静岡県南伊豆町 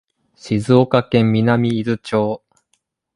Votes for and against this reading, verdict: 2, 0, accepted